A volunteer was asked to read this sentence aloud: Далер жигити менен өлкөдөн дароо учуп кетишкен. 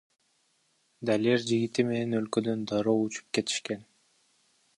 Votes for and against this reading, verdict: 1, 2, rejected